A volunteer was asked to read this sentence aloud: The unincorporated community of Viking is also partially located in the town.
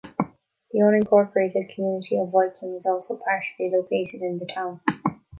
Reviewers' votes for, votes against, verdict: 1, 2, rejected